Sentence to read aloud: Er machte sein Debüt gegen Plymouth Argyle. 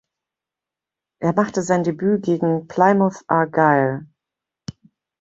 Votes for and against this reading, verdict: 1, 2, rejected